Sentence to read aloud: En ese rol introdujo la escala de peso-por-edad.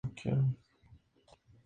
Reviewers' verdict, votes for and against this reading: rejected, 0, 2